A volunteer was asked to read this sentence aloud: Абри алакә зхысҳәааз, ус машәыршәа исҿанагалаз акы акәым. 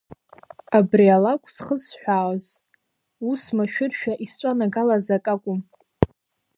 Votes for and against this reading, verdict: 2, 0, accepted